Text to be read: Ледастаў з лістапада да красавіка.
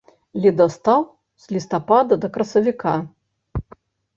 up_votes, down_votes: 2, 0